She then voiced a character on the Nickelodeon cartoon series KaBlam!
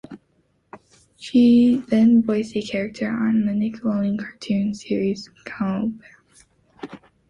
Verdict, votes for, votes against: rejected, 1, 2